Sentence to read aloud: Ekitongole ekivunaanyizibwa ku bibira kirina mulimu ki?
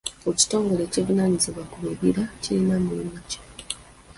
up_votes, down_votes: 3, 0